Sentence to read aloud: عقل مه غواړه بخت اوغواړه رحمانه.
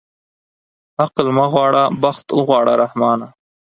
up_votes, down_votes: 4, 0